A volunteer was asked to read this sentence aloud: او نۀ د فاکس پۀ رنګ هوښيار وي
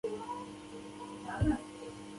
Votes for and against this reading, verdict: 1, 2, rejected